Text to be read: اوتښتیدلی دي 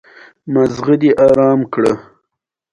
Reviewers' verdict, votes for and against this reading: rejected, 0, 2